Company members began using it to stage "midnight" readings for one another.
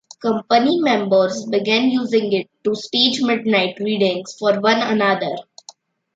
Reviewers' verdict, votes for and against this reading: accepted, 2, 0